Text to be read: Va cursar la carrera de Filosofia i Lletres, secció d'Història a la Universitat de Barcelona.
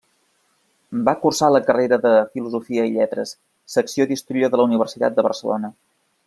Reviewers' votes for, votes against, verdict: 1, 2, rejected